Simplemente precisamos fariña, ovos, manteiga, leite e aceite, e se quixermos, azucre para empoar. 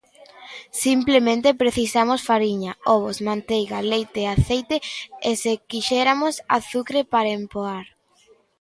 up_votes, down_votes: 0, 2